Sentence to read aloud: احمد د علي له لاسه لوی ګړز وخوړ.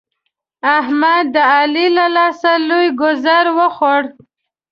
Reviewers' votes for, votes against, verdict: 0, 2, rejected